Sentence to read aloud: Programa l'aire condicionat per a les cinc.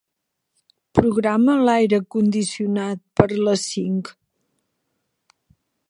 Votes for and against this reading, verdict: 2, 3, rejected